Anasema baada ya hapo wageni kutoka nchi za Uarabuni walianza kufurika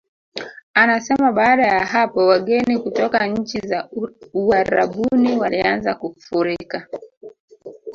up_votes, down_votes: 0, 2